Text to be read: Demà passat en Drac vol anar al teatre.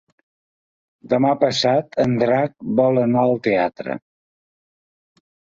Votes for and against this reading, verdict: 5, 0, accepted